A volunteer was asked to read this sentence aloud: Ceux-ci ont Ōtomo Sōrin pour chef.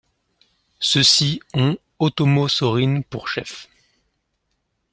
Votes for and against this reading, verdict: 2, 0, accepted